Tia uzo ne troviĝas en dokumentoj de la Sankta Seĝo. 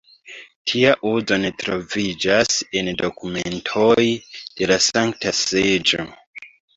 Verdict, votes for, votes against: rejected, 0, 3